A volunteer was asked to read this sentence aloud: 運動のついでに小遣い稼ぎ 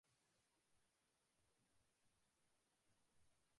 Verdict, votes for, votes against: rejected, 1, 4